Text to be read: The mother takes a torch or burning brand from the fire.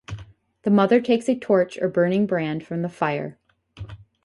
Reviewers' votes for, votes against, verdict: 0, 2, rejected